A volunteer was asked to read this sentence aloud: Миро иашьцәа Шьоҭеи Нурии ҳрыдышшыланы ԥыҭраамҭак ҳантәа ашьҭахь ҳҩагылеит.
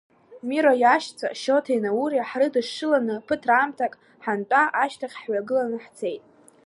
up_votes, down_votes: 0, 2